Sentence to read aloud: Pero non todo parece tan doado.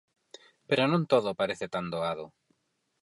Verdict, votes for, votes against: accepted, 4, 0